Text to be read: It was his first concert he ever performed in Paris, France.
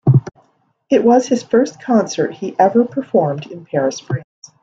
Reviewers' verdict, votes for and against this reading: accepted, 2, 0